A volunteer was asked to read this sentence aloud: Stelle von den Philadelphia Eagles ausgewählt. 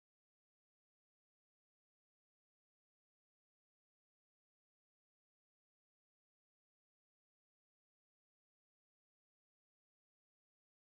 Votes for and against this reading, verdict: 0, 2, rejected